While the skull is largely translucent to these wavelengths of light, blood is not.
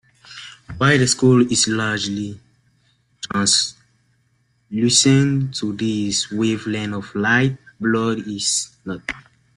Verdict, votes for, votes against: rejected, 0, 2